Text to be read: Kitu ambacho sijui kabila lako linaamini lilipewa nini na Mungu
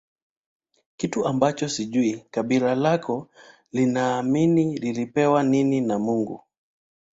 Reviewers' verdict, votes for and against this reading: rejected, 0, 2